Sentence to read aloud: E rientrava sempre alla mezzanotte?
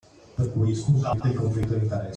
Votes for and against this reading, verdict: 0, 2, rejected